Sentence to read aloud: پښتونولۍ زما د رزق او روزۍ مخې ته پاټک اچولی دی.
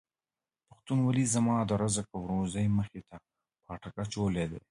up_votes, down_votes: 1, 2